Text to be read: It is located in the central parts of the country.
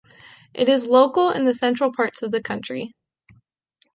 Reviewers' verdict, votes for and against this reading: rejected, 0, 2